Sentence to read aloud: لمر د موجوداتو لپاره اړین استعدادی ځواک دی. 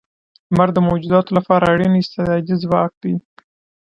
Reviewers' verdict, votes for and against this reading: rejected, 1, 2